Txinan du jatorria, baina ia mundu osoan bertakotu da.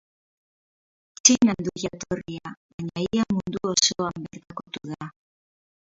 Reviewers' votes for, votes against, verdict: 0, 4, rejected